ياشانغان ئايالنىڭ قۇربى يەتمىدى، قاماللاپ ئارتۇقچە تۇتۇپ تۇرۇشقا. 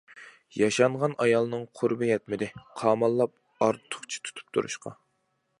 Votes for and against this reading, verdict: 2, 0, accepted